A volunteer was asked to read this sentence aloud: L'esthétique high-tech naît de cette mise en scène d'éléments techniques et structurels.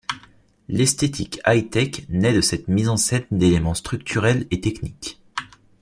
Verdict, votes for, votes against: rejected, 0, 2